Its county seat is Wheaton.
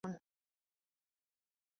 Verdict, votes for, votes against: rejected, 0, 3